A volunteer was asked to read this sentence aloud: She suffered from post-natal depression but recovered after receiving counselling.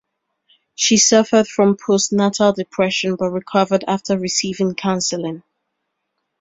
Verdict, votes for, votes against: rejected, 1, 2